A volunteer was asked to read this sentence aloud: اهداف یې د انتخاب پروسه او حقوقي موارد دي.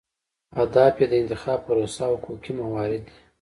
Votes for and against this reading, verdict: 2, 0, accepted